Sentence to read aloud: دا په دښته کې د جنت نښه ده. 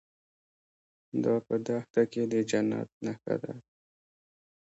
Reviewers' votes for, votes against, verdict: 2, 0, accepted